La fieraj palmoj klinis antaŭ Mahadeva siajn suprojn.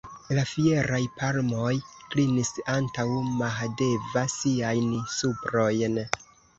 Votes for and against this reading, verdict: 1, 2, rejected